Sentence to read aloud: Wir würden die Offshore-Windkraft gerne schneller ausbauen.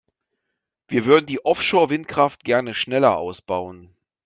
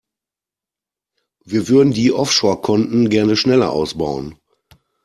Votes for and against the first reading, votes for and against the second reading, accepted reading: 2, 0, 0, 2, first